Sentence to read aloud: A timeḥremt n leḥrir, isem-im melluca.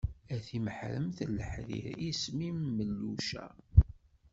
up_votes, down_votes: 2, 0